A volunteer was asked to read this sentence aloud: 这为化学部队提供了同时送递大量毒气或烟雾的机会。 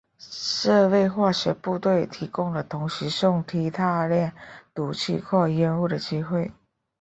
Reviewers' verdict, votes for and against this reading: accepted, 4, 0